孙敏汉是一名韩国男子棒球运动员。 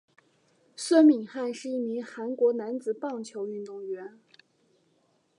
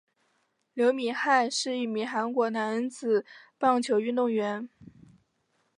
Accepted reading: first